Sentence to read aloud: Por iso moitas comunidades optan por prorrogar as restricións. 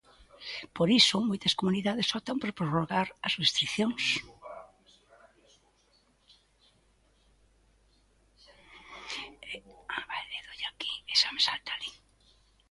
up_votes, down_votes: 0, 2